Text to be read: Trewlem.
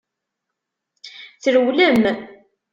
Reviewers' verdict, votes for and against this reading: accepted, 2, 0